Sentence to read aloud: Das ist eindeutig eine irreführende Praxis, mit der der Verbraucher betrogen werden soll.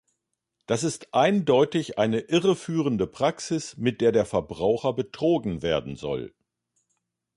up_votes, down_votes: 2, 0